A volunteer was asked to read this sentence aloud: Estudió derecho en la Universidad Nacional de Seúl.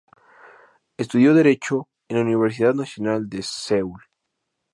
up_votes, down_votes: 0, 2